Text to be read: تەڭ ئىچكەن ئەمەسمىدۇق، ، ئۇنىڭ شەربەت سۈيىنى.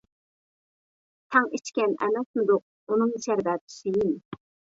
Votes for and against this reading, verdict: 0, 2, rejected